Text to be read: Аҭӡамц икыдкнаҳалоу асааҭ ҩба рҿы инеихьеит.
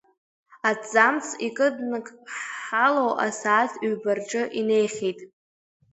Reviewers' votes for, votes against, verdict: 0, 2, rejected